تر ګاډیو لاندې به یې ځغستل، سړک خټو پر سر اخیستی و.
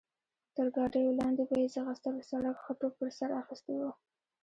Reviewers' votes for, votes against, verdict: 1, 2, rejected